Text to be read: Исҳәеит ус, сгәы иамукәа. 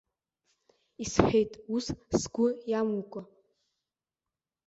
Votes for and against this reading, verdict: 2, 1, accepted